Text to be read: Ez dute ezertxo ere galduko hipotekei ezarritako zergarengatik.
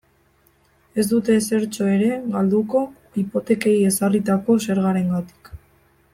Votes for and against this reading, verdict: 1, 2, rejected